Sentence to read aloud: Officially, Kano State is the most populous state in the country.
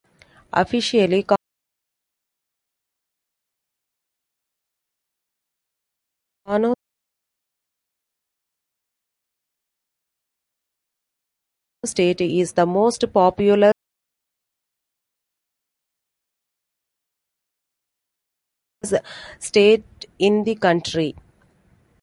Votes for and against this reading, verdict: 1, 2, rejected